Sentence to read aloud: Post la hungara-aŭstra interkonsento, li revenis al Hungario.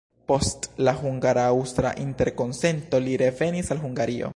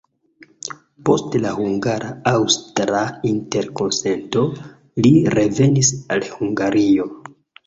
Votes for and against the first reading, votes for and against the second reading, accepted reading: 1, 2, 2, 0, second